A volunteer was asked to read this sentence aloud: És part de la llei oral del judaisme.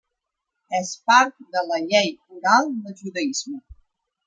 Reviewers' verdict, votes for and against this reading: rejected, 1, 2